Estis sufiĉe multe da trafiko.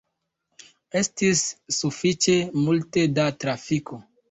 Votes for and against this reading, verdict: 2, 1, accepted